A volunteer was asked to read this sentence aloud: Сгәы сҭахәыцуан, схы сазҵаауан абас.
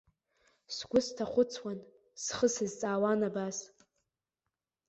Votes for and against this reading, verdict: 2, 0, accepted